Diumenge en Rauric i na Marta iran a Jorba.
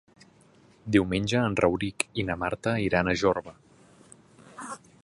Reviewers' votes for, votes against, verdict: 3, 0, accepted